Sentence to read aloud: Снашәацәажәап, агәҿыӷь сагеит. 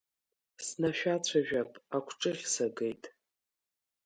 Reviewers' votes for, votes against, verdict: 2, 0, accepted